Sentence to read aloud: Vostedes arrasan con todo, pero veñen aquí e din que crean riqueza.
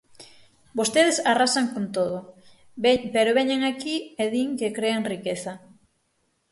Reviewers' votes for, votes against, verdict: 0, 6, rejected